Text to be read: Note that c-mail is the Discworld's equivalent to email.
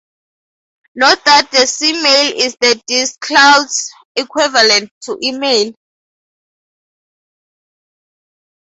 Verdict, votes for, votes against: rejected, 0, 4